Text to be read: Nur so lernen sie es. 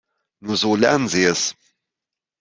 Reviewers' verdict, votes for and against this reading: accepted, 2, 0